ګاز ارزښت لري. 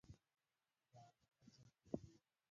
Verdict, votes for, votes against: rejected, 0, 2